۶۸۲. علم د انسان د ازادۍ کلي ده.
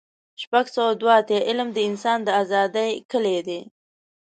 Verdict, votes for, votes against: rejected, 0, 2